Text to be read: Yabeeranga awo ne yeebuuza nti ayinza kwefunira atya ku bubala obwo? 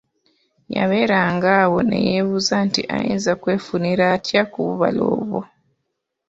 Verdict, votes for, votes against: accepted, 2, 0